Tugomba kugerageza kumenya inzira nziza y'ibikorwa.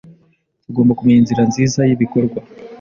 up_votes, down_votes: 0, 2